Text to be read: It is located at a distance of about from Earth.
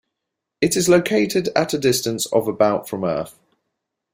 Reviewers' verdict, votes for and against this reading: accepted, 2, 1